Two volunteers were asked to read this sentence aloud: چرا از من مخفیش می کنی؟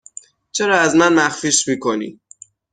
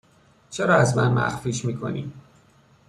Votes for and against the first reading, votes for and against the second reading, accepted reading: 3, 6, 2, 0, second